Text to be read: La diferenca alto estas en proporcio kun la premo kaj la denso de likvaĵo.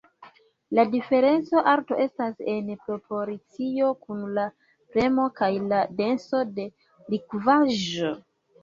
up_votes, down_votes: 0, 2